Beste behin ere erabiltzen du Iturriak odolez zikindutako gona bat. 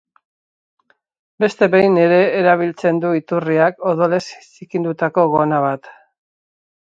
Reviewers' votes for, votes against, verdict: 0, 4, rejected